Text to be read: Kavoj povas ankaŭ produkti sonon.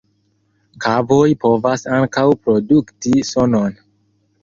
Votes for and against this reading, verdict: 2, 1, accepted